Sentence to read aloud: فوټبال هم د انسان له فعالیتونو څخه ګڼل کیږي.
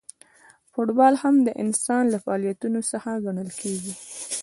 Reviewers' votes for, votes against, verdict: 1, 2, rejected